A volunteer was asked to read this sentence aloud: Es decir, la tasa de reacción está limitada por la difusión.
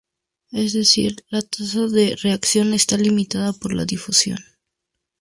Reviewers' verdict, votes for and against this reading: accepted, 2, 0